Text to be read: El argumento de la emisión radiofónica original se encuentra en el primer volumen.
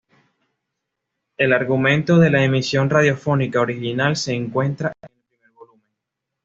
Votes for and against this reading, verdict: 2, 0, accepted